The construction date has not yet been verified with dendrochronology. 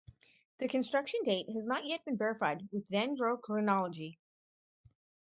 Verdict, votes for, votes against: rejected, 2, 4